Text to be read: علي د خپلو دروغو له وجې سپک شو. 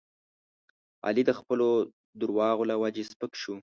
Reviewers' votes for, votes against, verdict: 0, 2, rejected